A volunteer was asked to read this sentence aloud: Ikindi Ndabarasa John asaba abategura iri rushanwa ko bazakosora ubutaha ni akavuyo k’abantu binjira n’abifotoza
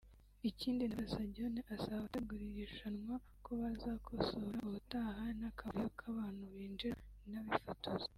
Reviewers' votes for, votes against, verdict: 1, 2, rejected